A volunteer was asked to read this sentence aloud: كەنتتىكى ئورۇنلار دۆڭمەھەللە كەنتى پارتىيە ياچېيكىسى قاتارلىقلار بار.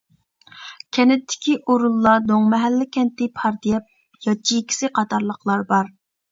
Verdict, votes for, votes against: rejected, 0, 2